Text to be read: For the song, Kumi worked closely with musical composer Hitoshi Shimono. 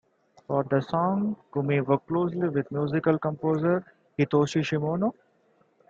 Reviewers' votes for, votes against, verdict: 1, 2, rejected